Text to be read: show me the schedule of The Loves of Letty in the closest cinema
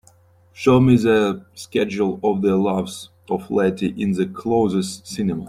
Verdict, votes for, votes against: accepted, 2, 0